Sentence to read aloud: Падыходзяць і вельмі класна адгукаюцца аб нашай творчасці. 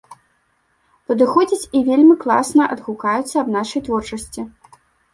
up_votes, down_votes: 2, 0